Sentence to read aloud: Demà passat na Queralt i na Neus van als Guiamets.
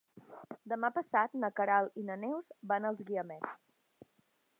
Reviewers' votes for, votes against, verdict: 3, 0, accepted